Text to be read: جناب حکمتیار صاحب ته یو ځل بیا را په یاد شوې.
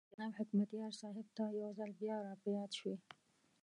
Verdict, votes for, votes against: rejected, 1, 2